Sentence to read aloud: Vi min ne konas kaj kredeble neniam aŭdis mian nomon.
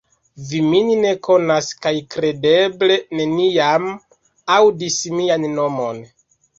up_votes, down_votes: 2, 0